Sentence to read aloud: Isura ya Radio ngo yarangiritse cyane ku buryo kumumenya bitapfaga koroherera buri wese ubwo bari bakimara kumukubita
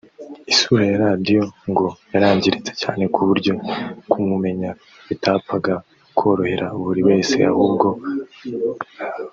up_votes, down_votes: 2, 3